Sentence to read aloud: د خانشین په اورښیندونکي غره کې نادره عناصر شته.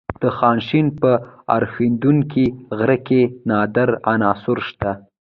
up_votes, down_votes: 2, 0